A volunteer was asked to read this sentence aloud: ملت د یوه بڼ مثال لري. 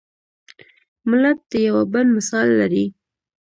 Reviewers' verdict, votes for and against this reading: accepted, 2, 0